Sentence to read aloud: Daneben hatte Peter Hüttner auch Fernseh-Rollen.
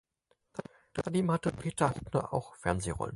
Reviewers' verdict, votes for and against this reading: rejected, 0, 4